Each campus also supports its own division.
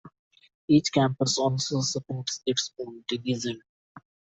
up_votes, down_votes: 1, 2